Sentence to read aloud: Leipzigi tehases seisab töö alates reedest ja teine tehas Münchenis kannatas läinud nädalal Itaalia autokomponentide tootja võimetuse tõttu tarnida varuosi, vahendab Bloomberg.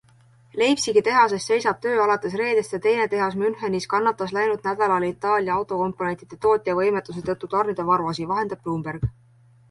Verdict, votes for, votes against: accepted, 2, 0